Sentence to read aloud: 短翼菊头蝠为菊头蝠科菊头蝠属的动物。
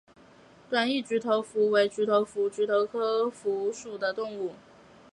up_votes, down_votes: 1, 4